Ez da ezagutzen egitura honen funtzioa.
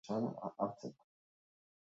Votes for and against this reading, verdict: 0, 2, rejected